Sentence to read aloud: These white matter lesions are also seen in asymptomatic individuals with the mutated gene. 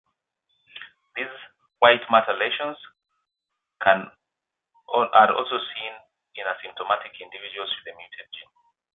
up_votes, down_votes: 0, 2